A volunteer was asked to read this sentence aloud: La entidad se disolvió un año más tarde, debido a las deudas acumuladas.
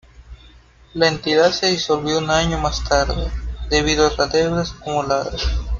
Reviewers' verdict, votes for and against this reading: rejected, 1, 2